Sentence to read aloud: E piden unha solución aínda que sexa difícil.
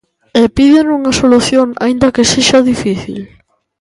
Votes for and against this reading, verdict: 2, 0, accepted